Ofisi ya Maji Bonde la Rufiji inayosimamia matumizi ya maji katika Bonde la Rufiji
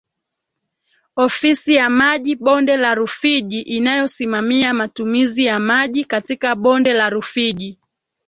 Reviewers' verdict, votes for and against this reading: rejected, 1, 2